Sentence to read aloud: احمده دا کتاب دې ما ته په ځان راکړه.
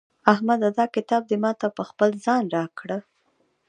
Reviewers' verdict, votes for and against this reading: rejected, 0, 2